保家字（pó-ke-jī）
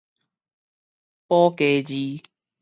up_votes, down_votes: 2, 4